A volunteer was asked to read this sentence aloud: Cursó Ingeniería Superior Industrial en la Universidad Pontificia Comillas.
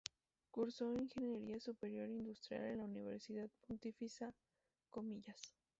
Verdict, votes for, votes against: rejected, 0, 2